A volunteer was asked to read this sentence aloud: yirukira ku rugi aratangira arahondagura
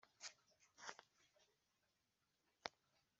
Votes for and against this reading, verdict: 0, 2, rejected